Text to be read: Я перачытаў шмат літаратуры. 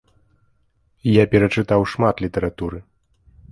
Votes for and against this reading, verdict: 2, 0, accepted